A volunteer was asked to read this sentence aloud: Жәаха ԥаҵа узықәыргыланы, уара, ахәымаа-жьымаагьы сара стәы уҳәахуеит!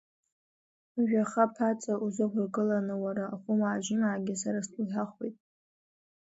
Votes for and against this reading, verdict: 0, 2, rejected